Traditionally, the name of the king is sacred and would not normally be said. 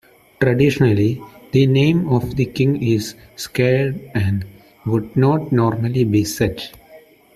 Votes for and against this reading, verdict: 0, 2, rejected